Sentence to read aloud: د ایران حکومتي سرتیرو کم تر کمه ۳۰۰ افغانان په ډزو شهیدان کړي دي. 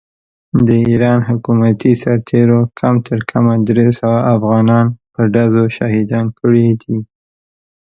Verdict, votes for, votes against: rejected, 0, 2